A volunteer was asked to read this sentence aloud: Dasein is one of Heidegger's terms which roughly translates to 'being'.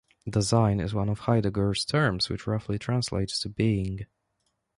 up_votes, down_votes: 2, 0